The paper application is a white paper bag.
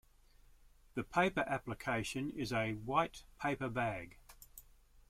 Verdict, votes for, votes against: accepted, 2, 0